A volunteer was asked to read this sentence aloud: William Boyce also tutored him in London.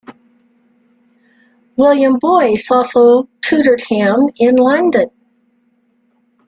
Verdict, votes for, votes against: rejected, 0, 2